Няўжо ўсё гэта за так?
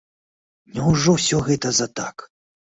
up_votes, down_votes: 2, 0